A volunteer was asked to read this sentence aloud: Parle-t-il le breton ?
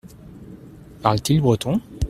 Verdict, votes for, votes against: rejected, 0, 2